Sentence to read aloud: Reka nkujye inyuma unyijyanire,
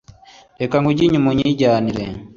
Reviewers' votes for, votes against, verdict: 2, 0, accepted